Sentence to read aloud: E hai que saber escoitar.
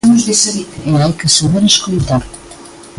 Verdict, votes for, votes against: rejected, 0, 2